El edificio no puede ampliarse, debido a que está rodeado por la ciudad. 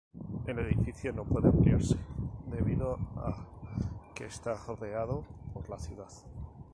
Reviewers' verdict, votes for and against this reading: rejected, 0, 2